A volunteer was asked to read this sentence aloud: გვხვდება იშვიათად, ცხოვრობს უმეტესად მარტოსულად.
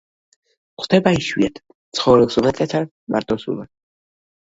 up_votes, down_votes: 1, 2